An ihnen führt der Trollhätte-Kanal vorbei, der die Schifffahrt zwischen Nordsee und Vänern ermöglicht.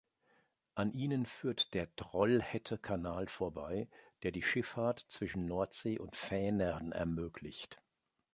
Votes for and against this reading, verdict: 2, 0, accepted